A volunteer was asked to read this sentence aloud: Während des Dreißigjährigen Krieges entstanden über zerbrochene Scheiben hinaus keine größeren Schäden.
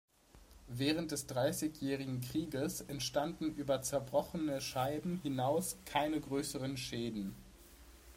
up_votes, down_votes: 2, 0